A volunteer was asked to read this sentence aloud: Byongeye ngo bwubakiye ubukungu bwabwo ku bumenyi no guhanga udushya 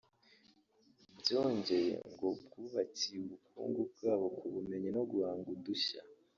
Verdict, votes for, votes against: rejected, 0, 2